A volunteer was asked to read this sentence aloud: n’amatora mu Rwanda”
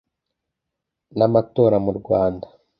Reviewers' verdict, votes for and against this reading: accepted, 2, 0